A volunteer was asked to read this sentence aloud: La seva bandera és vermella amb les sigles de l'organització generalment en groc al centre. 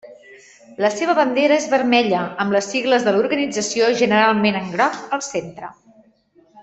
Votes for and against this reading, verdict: 2, 0, accepted